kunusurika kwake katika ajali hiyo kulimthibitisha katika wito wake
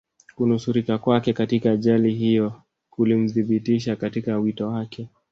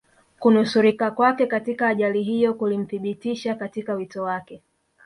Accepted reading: second